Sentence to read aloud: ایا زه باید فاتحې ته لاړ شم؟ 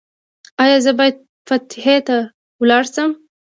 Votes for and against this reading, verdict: 1, 2, rejected